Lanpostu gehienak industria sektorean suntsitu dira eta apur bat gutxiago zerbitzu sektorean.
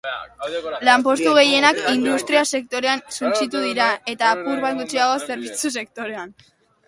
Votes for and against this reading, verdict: 0, 2, rejected